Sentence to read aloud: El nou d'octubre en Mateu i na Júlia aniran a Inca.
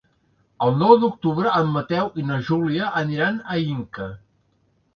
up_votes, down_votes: 3, 0